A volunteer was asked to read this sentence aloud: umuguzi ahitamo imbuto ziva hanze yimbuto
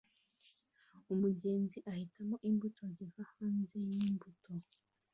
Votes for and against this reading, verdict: 2, 0, accepted